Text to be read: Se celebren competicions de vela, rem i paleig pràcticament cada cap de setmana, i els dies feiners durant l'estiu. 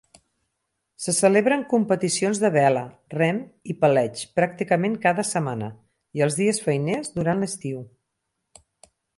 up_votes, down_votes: 0, 4